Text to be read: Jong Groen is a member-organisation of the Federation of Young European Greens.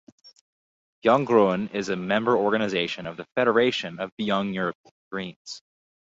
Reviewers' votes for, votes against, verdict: 2, 4, rejected